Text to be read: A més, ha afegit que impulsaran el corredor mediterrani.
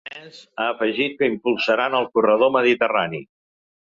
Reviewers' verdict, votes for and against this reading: rejected, 1, 2